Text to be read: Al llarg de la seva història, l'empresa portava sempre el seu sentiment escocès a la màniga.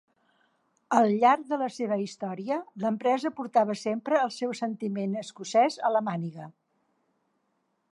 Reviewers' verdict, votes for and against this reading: accepted, 2, 0